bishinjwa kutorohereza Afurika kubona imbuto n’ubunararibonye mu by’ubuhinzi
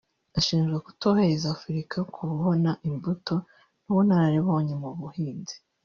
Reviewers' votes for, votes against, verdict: 1, 2, rejected